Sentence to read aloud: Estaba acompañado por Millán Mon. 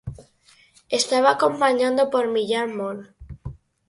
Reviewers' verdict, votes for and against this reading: rejected, 2, 4